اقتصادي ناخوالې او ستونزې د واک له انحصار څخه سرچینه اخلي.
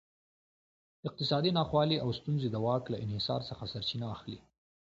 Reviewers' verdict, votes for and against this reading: accepted, 2, 0